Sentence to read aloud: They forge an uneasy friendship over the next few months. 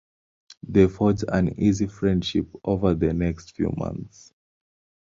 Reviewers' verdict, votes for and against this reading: rejected, 1, 2